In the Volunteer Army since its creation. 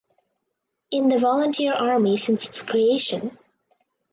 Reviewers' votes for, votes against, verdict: 4, 0, accepted